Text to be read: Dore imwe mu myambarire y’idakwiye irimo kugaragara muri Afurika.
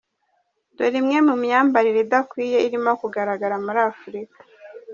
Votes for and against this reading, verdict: 1, 2, rejected